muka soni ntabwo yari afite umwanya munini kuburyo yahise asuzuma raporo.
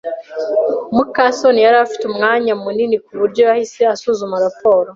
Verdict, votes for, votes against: rejected, 1, 2